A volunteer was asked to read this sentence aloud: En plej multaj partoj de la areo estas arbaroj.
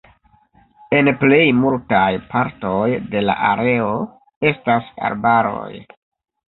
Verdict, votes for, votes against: accepted, 2, 0